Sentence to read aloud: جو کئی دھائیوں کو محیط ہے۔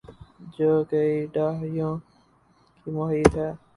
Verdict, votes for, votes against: rejected, 0, 2